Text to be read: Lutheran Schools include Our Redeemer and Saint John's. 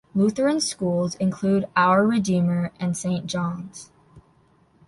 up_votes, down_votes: 2, 0